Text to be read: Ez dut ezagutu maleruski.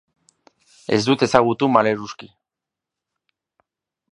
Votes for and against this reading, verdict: 3, 0, accepted